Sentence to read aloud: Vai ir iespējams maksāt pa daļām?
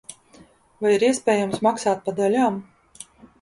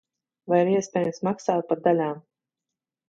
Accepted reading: first